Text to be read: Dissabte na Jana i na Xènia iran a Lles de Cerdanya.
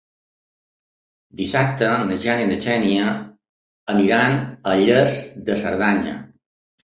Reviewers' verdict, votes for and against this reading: rejected, 1, 2